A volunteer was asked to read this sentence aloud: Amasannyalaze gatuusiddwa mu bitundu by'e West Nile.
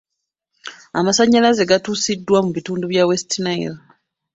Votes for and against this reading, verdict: 2, 0, accepted